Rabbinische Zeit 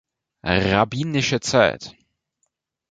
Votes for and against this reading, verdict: 0, 2, rejected